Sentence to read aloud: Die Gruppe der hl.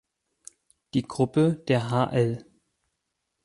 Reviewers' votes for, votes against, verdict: 0, 4, rejected